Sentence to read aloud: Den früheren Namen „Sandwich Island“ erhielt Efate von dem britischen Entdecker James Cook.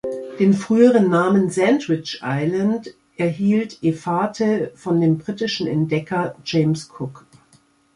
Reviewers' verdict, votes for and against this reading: accepted, 3, 2